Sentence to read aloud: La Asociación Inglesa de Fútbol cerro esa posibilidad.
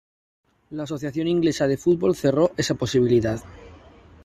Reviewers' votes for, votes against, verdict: 2, 0, accepted